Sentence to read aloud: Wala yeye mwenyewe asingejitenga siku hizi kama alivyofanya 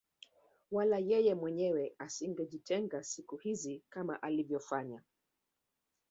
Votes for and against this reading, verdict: 1, 2, rejected